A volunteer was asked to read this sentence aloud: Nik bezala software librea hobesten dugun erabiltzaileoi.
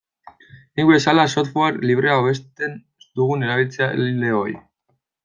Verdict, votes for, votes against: rejected, 1, 2